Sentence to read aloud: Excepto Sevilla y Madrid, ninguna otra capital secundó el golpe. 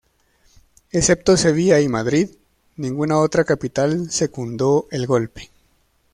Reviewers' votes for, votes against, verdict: 2, 1, accepted